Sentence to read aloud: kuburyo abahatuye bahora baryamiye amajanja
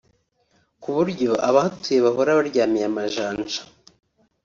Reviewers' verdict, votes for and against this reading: accepted, 2, 0